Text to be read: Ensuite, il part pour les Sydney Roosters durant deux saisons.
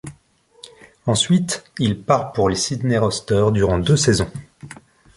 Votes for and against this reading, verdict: 2, 0, accepted